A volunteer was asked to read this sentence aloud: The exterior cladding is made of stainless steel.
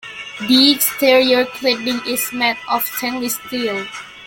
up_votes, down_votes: 0, 2